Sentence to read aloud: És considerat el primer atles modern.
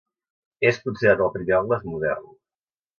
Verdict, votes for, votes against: rejected, 0, 2